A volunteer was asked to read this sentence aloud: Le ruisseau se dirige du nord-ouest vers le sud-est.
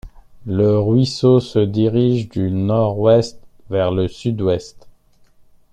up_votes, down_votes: 0, 2